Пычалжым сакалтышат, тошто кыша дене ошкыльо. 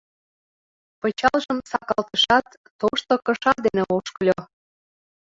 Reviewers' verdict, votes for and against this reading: accepted, 2, 0